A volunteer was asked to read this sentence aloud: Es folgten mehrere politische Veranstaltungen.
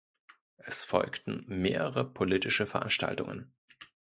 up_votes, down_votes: 2, 0